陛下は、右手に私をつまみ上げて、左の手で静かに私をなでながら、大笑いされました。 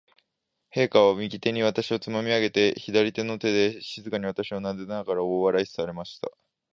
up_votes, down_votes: 2, 0